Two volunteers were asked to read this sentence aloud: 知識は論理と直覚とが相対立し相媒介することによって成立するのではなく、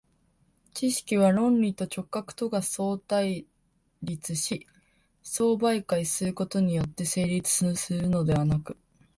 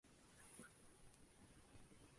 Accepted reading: first